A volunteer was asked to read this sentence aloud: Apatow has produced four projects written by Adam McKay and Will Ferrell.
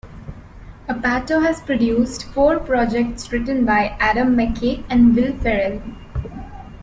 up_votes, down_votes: 1, 2